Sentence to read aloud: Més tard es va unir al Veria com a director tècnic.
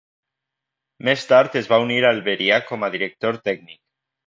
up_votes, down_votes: 2, 1